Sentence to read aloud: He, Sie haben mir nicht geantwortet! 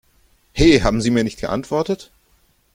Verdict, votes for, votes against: rejected, 0, 2